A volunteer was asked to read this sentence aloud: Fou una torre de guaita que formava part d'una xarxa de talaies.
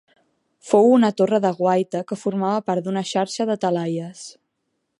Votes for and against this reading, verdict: 3, 0, accepted